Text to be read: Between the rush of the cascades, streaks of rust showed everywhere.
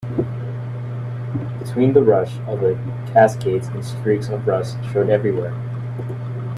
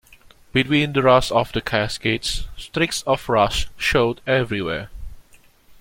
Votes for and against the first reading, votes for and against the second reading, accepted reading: 0, 2, 3, 1, second